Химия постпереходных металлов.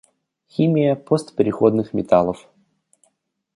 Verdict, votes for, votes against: accepted, 2, 0